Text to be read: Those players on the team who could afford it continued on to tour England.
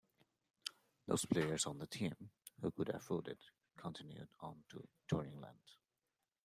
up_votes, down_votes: 2, 0